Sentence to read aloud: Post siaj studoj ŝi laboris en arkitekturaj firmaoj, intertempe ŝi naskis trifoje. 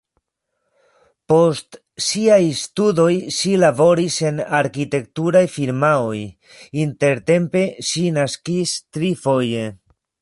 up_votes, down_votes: 3, 2